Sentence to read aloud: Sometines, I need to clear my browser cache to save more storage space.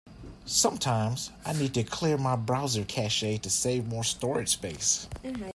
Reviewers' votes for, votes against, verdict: 1, 2, rejected